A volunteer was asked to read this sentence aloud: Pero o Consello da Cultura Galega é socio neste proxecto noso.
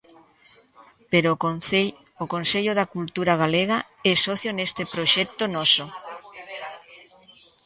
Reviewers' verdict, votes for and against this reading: rejected, 0, 2